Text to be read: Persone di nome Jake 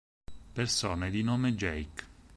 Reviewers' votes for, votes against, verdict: 4, 0, accepted